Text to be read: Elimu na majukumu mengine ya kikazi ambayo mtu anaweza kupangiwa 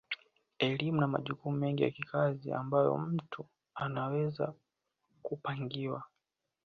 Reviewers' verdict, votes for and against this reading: accepted, 2, 0